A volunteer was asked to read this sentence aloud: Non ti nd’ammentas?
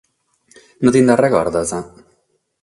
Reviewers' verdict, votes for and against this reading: rejected, 3, 3